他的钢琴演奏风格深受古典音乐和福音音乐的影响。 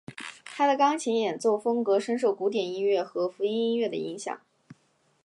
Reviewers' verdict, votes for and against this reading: accepted, 2, 0